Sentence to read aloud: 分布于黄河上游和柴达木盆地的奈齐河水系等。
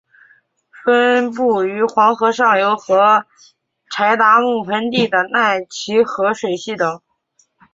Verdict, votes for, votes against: accepted, 3, 0